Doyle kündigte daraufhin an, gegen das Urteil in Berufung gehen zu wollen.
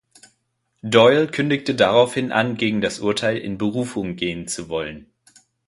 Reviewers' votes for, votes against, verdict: 3, 0, accepted